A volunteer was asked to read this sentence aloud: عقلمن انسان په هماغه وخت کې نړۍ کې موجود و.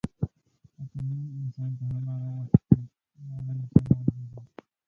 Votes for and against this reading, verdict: 0, 2, rejected